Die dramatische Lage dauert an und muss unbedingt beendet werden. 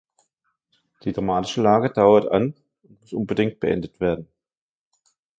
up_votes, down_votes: 1, 2